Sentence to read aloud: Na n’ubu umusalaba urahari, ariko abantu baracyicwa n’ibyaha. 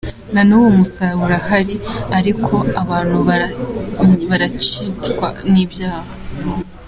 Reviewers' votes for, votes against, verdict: 0, 2, rejected